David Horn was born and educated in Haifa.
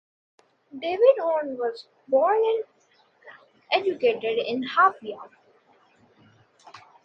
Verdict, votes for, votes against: rejected, 0, 2